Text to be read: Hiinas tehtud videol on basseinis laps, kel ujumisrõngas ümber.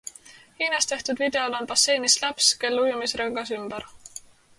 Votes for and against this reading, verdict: 4, 0, accepted